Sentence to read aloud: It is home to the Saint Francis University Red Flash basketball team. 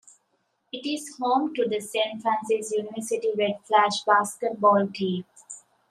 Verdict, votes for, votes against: accepted, 2, 0